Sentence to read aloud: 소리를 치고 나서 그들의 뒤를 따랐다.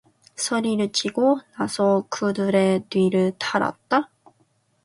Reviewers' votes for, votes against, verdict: 1, 2, rejected